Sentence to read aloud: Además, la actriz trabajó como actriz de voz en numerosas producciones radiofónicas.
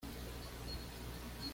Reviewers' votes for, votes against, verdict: 1, 2, rejected